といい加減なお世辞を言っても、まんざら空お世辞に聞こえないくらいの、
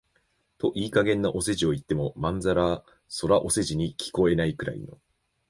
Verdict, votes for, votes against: rejected, 1, 2